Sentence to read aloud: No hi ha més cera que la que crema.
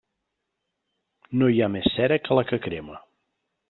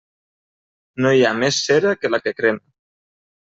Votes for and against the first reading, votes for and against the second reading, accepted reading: 3, 0, 0, 2, first